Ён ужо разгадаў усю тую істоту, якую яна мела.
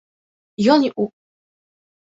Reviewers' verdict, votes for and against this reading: rejected, 0, 3